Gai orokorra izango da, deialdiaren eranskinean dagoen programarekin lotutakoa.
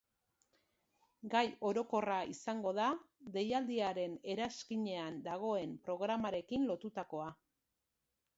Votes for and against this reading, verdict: 2, 0, accepted